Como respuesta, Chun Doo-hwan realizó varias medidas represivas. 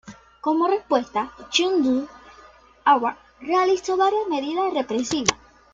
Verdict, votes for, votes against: rejected, 1, 2